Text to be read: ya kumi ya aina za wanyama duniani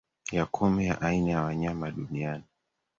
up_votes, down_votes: 2, 1